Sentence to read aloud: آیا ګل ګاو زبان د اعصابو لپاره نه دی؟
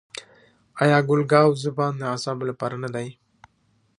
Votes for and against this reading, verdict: 2, 1, accepted